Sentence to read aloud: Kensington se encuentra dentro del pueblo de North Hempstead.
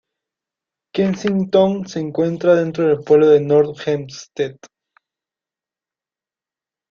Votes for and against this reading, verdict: 0, 2, rejected